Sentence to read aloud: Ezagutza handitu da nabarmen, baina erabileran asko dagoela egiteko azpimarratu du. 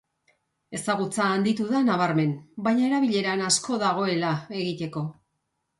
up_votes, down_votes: 0, 2